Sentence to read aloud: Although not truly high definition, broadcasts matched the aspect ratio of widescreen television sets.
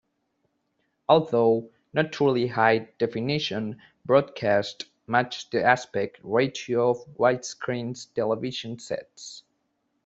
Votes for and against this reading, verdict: 0, 2, rejected